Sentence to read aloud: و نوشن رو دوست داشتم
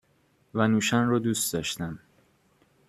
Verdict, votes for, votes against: accepted, 2, 0